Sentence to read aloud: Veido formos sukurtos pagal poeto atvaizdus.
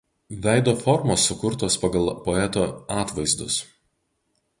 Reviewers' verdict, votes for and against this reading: accepted, 2, 0